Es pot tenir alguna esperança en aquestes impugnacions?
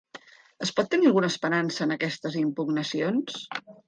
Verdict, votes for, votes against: accepted, 3, 0